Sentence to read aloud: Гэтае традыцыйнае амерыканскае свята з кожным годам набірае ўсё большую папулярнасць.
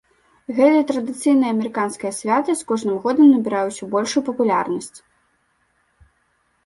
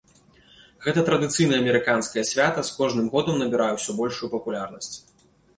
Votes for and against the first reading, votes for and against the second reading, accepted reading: 0, 2, 2, 0, second